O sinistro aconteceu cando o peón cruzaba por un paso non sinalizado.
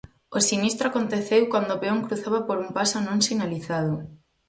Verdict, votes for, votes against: rejected, 2, 2